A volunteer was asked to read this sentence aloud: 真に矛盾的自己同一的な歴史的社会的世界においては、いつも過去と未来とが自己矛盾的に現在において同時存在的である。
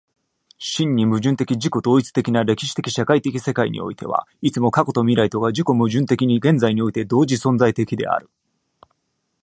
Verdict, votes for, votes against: rejected, 1, 2